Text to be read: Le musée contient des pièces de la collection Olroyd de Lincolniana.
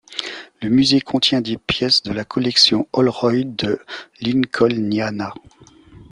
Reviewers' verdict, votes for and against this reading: accepted, 2, 0